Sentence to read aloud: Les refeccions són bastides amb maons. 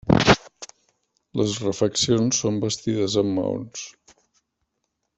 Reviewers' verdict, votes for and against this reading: accepted, 2, 0